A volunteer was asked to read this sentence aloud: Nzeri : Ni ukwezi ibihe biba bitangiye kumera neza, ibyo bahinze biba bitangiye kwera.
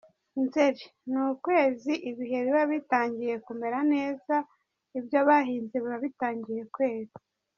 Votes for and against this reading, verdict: 2, 0, accepted